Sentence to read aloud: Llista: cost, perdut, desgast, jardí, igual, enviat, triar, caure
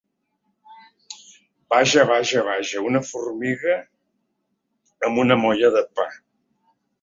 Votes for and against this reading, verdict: 0, 2, rejected